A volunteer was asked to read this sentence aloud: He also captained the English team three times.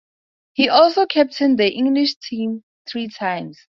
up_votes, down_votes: 2, 0